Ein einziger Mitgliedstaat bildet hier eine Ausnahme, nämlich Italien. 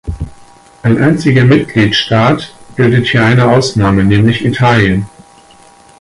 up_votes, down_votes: 4, 6